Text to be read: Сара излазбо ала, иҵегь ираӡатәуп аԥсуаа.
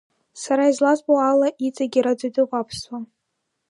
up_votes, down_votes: 1, 2